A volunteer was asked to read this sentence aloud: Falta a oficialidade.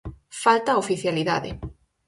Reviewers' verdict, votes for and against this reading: accepted, 4, 0